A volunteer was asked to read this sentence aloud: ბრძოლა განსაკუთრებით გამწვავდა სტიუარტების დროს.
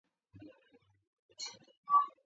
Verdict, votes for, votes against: rejected, 0, 2